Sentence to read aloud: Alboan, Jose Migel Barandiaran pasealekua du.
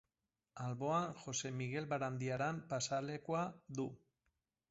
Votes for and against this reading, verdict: 0, 2, rejected